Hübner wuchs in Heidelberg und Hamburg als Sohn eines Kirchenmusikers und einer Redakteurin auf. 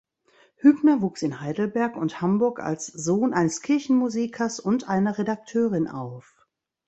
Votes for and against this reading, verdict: 2, 0, accepted